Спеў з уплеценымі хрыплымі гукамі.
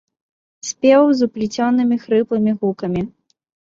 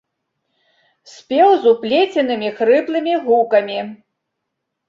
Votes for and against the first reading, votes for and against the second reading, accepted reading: 1, 2, 2, 0, second